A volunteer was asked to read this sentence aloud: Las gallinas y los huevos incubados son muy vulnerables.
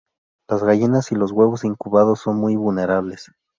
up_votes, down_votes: 2, 0